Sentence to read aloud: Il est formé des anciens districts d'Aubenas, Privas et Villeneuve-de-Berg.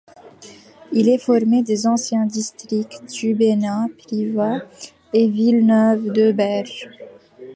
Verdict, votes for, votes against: rejected, 0, 2